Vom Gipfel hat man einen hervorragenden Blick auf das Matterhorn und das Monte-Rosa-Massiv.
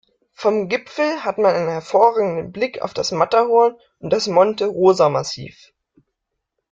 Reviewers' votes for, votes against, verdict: 2, 0, accepted